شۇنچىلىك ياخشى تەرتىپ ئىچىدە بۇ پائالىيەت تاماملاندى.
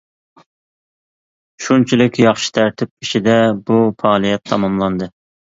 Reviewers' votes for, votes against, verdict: 2, 0, accepted